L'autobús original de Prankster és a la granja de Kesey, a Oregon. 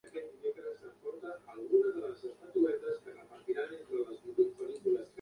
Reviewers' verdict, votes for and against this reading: rejected, 0, 2